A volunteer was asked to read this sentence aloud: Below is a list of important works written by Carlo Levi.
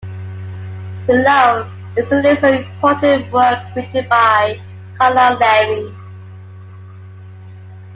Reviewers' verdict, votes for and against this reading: accepted, 2, 1